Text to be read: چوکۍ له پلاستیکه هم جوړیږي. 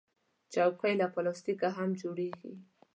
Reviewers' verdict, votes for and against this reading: accepted, 2, 0